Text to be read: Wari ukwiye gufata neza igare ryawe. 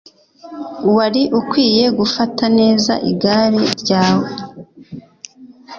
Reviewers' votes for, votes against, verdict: 2, 0, accepted